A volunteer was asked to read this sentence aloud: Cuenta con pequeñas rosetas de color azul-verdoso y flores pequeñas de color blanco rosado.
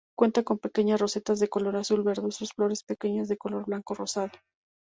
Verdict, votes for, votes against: rejected, 2, 2